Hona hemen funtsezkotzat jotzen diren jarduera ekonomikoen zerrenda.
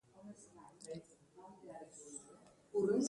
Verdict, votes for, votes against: rejected, 0, 2